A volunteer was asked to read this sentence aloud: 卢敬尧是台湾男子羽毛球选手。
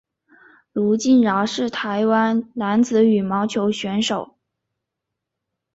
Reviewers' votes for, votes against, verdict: 2, 0, accepted